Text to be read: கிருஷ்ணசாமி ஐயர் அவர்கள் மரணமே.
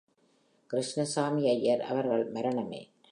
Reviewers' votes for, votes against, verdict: 1, 2, rejected